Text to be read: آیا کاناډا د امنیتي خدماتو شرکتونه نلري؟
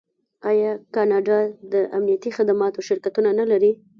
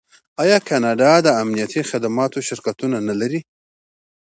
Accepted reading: second